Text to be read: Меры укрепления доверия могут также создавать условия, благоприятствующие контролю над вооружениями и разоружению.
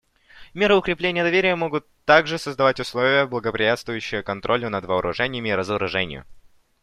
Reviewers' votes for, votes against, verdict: 2, 0, accepted